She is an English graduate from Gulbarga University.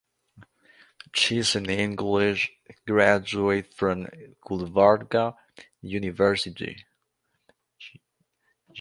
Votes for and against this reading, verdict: 2, 1, accepted